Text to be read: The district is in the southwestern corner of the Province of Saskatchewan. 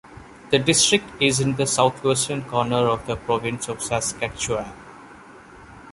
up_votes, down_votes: 0, 2